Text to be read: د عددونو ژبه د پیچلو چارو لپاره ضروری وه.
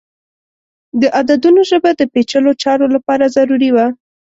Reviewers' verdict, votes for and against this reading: rejected, 1, 2